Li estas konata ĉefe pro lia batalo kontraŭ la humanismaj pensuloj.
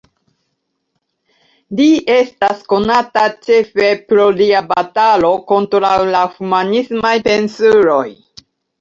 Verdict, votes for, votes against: accepted, 2, 0